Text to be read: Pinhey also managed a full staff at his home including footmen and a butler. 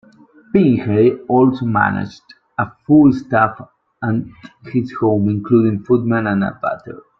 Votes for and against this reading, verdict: 1, 2, rejected